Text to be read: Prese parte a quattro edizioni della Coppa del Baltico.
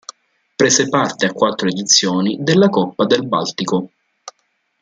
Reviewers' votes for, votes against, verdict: 2, 0, accepted